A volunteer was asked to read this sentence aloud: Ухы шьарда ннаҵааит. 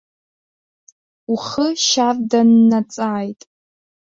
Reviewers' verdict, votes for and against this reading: rejected, 1, 2